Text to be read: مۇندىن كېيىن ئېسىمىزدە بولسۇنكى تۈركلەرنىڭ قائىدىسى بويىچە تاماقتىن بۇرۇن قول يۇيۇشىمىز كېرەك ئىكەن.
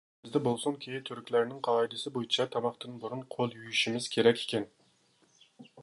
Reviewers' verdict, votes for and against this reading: rejected, 0, 2